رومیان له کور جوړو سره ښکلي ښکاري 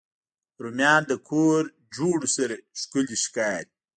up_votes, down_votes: 0, 2